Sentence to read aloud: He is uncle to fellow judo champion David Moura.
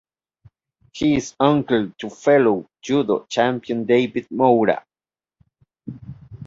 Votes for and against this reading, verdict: 2, 0, accepted